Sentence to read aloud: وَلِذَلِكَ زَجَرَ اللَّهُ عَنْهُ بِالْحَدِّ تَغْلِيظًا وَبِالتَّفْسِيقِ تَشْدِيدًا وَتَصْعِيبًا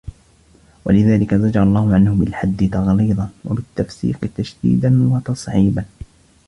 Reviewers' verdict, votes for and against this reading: accepted, 3, 1